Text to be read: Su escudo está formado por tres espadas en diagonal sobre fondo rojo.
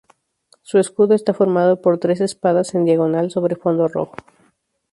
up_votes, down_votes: 2, 0